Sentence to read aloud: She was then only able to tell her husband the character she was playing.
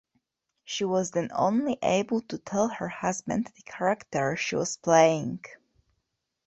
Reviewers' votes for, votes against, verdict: 2, 0, accepted